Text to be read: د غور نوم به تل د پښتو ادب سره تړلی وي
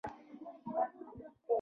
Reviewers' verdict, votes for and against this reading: rejected, 1, 2